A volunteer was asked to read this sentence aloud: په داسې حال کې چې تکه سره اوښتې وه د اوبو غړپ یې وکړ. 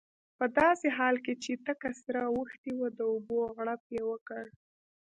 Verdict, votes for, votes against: rejected, 0, 2